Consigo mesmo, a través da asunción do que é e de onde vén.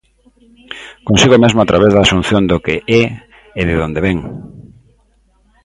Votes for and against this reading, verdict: 0, 2, rejected